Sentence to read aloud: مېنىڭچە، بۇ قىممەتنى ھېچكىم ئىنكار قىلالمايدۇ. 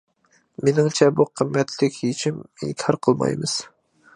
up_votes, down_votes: 0, 2